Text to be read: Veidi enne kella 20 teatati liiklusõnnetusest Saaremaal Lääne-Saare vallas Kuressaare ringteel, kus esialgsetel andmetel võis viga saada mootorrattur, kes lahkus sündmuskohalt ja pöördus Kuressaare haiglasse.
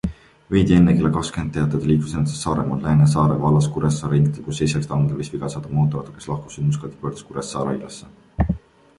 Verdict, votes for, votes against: rejected, 0, 2